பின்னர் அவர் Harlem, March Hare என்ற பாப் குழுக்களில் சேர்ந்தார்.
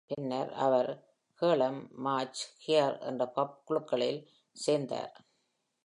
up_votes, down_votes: 2, 0